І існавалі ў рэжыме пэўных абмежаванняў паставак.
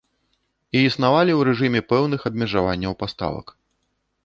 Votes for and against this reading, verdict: 3, 0, accepted